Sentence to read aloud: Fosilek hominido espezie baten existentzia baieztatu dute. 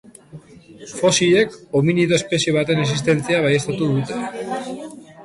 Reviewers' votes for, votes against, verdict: 5, 1, accepted